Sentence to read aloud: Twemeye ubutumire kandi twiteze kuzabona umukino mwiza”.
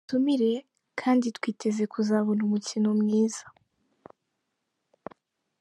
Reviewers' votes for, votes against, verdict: 0, 5, rejected